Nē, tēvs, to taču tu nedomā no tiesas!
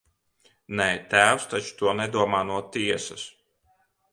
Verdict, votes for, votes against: rejected, 0, 2